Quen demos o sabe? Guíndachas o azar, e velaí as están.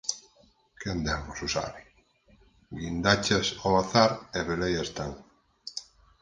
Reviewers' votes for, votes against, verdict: 2, 4, rejected